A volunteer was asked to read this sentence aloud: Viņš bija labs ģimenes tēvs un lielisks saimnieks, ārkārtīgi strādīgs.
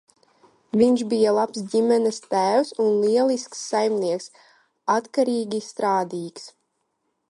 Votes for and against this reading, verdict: 0, 2, rejected